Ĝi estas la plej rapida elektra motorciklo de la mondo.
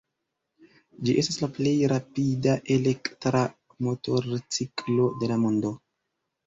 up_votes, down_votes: 0, 2